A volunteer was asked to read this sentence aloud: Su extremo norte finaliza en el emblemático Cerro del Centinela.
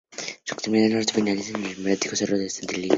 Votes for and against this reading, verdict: 0, 2, rejected